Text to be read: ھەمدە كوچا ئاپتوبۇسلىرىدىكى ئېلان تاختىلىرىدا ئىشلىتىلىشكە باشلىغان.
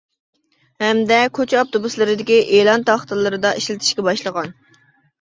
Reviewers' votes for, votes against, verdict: 2, 1, accepted